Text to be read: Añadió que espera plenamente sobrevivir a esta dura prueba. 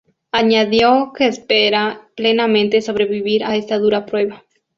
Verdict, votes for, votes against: accepted, 2, 0